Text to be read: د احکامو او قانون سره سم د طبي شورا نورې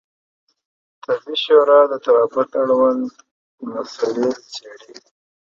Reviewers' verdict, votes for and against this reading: rejected, 1, 2